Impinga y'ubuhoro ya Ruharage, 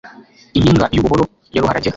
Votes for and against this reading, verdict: 1, 2, rejected